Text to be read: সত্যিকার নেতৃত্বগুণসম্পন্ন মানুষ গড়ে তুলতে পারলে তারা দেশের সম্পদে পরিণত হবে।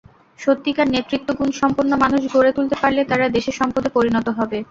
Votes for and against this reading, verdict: 2, 0, accepted